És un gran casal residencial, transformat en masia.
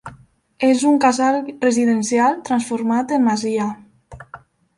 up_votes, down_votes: 1, 2